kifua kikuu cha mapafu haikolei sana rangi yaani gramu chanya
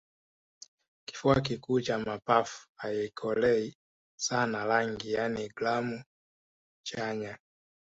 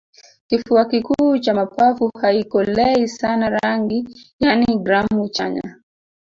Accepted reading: first